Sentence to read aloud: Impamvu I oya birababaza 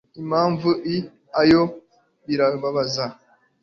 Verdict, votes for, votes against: rejected, 1, 2